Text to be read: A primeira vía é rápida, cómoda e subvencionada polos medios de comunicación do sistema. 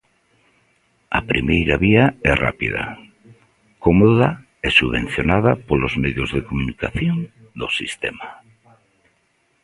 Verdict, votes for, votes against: accepted, 2, 1